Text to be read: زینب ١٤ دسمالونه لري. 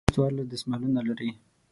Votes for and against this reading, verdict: 0, 2, rejected